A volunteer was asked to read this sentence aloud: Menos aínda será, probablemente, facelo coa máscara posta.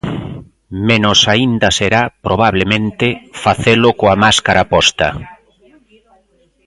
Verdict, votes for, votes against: accepted, 2, 0